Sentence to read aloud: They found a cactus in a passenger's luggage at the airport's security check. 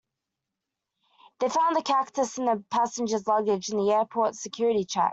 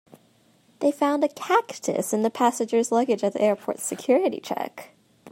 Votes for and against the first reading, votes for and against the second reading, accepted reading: 0, 2, 2, 0, second